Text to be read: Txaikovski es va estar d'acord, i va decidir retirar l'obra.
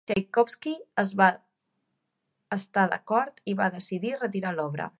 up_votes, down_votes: 0, 2